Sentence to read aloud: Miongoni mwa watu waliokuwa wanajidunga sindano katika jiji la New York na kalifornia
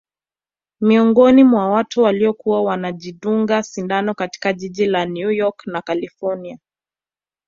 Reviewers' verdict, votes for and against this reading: accepted, 2, 0